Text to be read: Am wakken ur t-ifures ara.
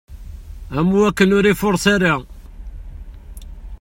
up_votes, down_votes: 0, 2